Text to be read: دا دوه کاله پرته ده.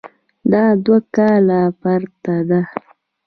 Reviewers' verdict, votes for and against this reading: accepted, 2, 0